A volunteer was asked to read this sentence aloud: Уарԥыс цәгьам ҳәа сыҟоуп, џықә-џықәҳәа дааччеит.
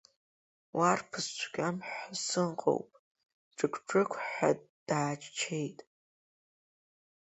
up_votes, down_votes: 4, 0